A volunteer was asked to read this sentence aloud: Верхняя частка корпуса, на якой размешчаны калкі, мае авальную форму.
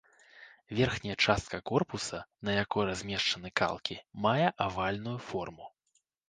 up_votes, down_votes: 1, 2